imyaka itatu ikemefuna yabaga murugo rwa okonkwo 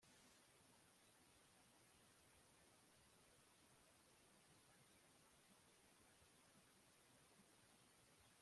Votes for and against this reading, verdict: 0, 2, rejected